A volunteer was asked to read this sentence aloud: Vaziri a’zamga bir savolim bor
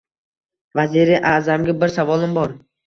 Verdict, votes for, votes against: accepted, 2, 0